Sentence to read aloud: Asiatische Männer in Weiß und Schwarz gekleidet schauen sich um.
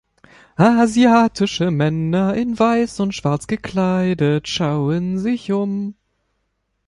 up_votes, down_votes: 1, 2